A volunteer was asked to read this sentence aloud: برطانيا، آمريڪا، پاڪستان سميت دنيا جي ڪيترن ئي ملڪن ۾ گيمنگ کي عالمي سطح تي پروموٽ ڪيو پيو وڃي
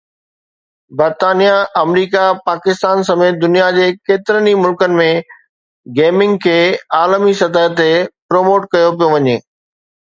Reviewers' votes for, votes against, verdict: 2, 0, accepted